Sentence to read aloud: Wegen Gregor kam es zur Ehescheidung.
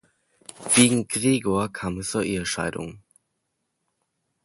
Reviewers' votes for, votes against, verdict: 2, 0, accepted